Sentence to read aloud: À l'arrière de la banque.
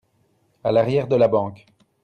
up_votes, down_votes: 2, 0